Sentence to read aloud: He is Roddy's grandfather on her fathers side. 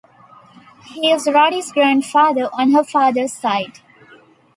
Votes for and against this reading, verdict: 2, 0, accepted